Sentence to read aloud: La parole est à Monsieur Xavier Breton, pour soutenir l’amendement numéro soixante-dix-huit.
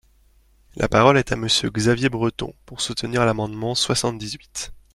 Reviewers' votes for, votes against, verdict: 0, 2, rejected